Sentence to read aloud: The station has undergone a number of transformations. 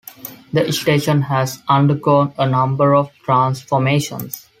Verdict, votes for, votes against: accepted, 2, 0